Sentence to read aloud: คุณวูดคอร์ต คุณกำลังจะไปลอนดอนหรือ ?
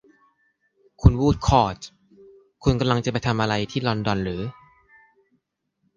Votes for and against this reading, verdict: 0, 2, rejected